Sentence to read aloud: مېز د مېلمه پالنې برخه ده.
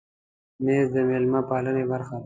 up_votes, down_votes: 3, 0